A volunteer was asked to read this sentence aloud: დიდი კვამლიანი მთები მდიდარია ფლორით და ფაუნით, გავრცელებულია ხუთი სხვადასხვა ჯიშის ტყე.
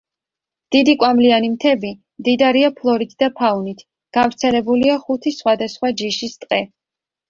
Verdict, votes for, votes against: accepted, 2, 0